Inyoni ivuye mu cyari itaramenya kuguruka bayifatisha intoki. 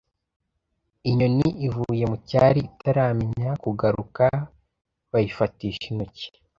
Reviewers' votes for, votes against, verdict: 0, 2, rejected